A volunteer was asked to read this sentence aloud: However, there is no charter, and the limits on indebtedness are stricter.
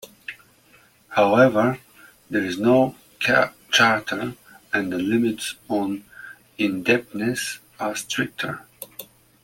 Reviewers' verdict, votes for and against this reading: rejected, 0, 2